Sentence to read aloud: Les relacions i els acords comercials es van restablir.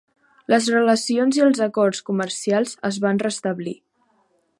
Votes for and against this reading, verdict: 5, 0, accepted